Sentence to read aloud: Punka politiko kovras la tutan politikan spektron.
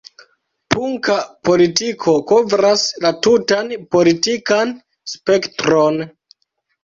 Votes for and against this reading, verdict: 0, 2, rejected